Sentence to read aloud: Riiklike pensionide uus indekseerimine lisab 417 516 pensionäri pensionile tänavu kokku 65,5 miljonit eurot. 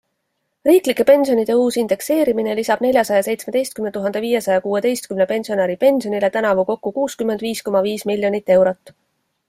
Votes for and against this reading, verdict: 0, 2, rejected